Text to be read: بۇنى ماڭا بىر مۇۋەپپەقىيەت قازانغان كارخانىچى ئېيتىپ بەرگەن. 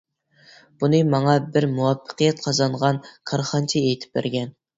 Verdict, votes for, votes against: accepted, 2, 0